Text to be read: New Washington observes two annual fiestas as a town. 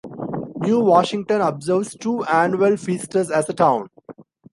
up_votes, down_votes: 1, 2